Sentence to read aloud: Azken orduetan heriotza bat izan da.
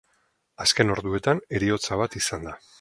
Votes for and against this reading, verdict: 4, 0, accepted